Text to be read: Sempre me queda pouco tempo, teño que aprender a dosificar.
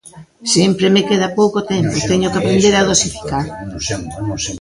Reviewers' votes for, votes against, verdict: 0, 2, rejected